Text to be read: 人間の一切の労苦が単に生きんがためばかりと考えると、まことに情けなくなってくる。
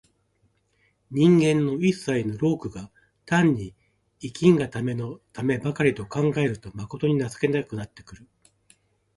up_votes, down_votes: 1, 2